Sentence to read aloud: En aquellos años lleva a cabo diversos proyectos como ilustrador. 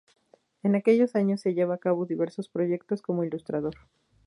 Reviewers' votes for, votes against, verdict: 2, 0, accepted